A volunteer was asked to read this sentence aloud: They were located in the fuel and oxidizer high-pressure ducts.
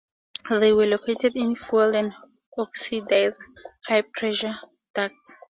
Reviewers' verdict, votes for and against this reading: rejected, 0, 2